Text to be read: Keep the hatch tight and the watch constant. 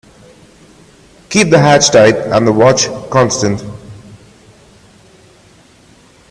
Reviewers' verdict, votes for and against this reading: accepted, 2, 0